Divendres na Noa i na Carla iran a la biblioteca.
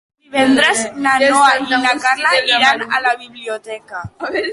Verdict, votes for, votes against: rejected, 1, 2